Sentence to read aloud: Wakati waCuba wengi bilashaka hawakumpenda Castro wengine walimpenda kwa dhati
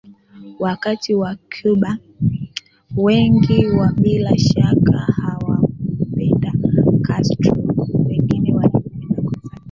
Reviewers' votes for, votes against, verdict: 0, 2, rejected